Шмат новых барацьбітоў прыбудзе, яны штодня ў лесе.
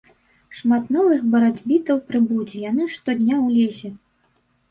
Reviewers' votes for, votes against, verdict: 0, 2, rejected